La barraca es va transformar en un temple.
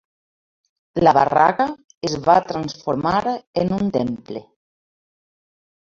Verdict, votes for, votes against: rejected, 0, 2